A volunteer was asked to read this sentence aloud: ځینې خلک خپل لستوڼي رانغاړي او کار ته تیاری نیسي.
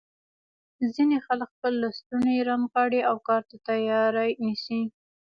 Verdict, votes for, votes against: rejected, 1, 2